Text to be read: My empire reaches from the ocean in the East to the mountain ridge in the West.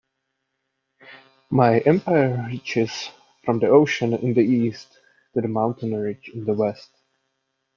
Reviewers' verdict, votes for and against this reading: accepted, 2, 0